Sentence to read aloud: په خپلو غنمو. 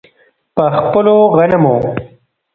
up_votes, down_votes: 1, 2